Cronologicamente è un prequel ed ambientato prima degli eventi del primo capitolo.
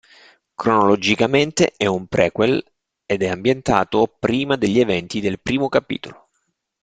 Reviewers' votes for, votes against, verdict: 1, 2, rejected